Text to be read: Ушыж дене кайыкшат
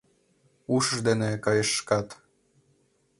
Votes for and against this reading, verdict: 0, 2, rejected